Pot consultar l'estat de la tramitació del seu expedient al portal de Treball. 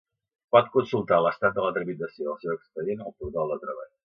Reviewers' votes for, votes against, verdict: 1, 2, rejected